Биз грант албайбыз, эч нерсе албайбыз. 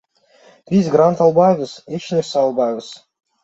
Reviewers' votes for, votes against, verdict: 1, 2, rejected